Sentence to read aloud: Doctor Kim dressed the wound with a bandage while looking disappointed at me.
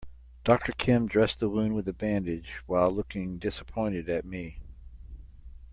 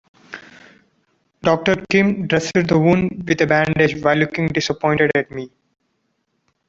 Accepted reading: first